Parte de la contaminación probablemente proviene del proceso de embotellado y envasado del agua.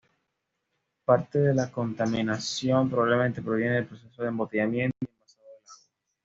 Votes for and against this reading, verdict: 1, 2, rejected